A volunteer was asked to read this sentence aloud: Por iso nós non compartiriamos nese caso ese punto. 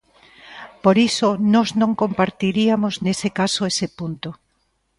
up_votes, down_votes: 1, 2